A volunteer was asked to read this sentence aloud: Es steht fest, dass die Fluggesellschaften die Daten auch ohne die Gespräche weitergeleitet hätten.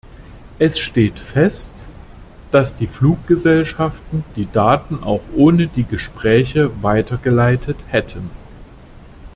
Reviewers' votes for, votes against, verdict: 2, 0, accepted